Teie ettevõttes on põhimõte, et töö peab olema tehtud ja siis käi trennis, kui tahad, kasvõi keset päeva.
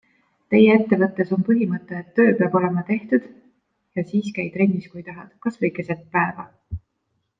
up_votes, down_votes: 2, 0